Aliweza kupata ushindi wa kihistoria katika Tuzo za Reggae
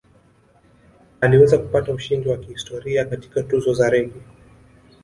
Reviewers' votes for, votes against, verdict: 2, 0, accepted